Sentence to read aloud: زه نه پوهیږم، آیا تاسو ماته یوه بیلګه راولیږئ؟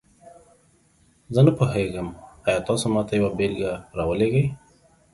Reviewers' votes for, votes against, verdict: 1, 2, rejected